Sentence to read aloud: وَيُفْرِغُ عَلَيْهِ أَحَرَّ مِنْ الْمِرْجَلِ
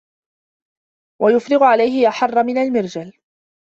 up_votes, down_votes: 2, 0